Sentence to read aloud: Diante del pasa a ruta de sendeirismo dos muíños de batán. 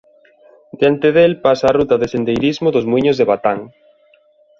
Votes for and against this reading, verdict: 2, 0, accepted